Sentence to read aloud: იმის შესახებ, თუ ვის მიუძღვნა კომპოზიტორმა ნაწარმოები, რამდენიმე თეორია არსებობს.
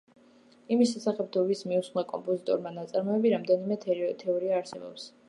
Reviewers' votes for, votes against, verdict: 2, 1, accepted